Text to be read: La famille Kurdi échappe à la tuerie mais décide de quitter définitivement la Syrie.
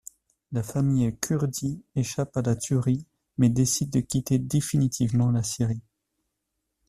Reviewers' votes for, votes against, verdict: 2, 0, accepted